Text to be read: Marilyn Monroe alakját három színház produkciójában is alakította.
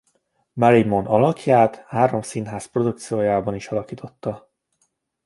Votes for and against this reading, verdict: 1, 2, rejected